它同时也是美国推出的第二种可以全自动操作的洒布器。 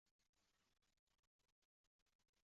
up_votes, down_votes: 0, 2